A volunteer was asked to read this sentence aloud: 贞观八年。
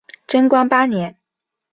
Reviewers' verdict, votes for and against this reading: accepted, 5, 0